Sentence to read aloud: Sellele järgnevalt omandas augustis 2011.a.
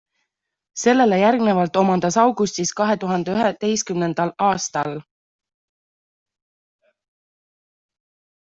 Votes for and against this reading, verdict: 0, 2, rejected